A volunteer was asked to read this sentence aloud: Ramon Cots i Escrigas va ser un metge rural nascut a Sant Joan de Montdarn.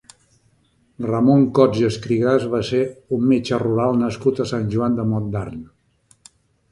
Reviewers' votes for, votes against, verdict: 2, 0, accepted